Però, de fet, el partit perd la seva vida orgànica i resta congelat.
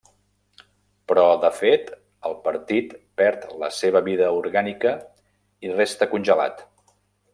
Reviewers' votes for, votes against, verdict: 3, 0, accepted